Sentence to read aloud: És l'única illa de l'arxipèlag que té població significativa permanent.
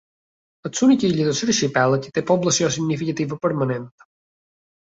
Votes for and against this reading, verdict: 1, 2, rejected